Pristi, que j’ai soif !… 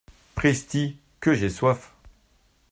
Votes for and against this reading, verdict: 2, 0, accepted